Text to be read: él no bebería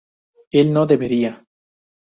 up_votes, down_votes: 2, 4